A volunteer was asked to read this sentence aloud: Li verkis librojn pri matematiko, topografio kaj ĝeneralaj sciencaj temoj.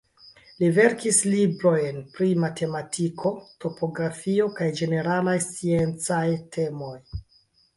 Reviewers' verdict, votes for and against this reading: accepted, 2, 0